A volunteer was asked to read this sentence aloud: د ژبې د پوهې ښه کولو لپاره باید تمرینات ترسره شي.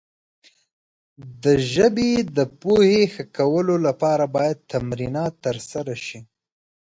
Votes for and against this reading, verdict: 2, 0, accepted